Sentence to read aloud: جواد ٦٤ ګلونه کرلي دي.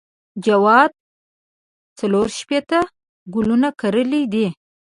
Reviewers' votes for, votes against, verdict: 0, 2, rejected